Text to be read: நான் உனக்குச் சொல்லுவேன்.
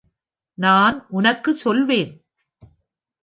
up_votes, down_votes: 0, 2